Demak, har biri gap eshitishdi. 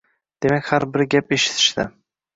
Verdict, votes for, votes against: accepted, 2, 1